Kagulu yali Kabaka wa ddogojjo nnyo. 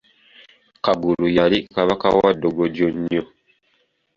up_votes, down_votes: 2, 0